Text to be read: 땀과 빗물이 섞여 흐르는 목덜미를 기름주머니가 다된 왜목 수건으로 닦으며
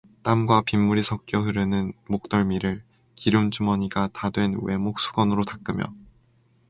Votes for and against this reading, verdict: 2, 0, accepted